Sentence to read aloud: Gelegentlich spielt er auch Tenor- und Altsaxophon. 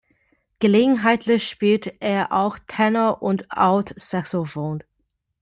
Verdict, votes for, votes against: rejected, 0, 2